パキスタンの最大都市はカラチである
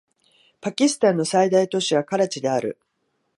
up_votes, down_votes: 12, 0